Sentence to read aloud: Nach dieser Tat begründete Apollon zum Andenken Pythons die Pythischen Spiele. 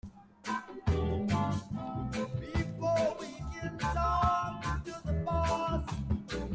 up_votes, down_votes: 0, 2